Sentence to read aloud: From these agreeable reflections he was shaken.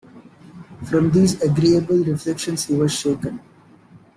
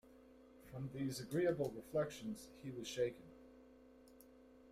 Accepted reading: second